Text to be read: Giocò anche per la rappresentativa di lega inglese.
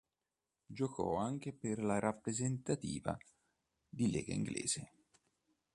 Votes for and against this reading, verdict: 2, 0, accepted